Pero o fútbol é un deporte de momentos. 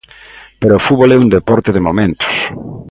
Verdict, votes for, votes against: accepted, 2, 0